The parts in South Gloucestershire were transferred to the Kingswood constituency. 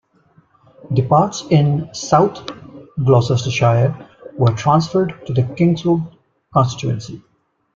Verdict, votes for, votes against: accepted, 2, 1